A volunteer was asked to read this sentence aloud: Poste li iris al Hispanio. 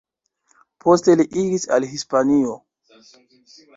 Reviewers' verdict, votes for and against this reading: rejected, 1, 2